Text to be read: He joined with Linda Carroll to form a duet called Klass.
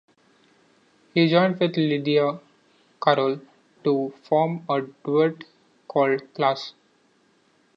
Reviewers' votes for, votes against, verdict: 1, 2, rejected